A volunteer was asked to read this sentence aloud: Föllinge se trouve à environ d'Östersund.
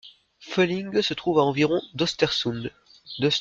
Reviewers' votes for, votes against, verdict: 0, 2, rejected